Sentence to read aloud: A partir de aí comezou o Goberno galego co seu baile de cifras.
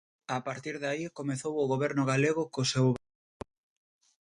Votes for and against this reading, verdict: 0, 2, rejected